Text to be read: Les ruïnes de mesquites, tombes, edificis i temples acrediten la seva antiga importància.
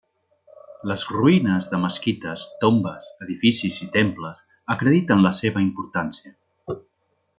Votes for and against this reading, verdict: 0, 2, rejected